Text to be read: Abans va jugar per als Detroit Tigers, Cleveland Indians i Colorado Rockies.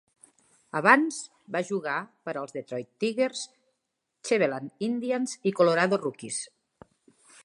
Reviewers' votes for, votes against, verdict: 1, 2, rejected